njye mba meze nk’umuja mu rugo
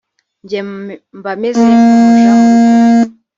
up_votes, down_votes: 2, 3